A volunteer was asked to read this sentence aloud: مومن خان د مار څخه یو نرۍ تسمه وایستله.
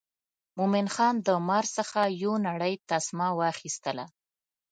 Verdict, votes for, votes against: rejected, 0, 2